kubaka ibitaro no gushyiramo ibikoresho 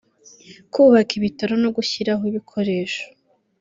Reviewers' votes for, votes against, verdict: 0, 2, rejected